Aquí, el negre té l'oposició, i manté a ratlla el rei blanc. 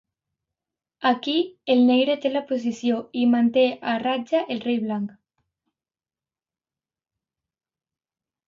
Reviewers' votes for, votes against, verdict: 1, 2, rejected